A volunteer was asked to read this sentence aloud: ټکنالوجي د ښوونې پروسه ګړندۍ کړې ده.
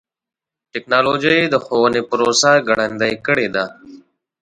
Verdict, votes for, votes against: rejected, 1, 2